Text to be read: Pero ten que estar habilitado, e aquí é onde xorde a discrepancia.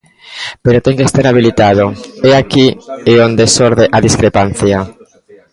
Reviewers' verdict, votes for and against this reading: rejected, 0, 2